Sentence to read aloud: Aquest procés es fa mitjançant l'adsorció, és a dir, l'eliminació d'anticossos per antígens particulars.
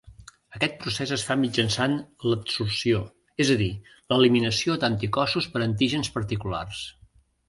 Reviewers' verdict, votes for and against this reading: accepted, 2, 0